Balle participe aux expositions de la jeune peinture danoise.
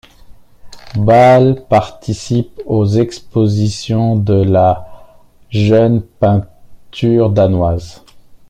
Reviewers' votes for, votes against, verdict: 2, 1, accepted